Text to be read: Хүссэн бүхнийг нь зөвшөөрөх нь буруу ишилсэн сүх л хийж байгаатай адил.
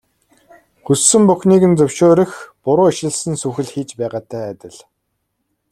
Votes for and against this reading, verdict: 1, 2, rejected